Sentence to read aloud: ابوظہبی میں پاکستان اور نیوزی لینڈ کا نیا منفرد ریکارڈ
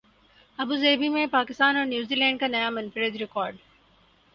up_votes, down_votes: 6, 2